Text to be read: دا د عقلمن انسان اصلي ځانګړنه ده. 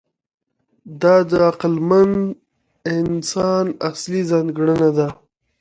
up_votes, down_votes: 0, 2